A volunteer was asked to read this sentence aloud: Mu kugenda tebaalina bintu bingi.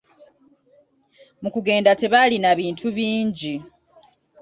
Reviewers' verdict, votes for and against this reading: accepted, 2, 0